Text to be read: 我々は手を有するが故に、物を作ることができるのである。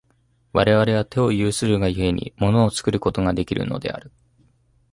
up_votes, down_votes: 2, 0